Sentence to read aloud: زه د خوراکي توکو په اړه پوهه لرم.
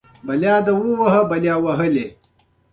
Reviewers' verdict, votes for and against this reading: rejected, 1, 2